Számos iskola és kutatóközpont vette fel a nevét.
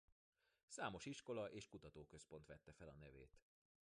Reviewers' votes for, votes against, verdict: 1, 2, rejected